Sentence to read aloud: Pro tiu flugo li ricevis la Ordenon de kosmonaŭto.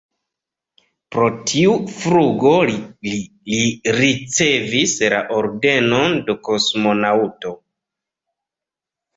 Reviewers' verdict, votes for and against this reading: rejected, 1, 2